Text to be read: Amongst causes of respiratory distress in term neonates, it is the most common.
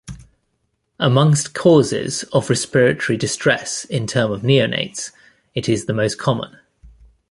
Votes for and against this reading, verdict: 1, 2, rejected